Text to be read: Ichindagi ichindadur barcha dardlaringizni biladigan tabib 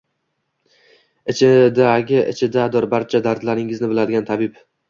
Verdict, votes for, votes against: rejected, 1, 2